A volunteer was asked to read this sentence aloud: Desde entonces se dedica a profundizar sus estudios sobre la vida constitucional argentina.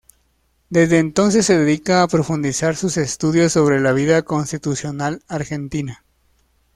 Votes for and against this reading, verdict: 2, 0, accepted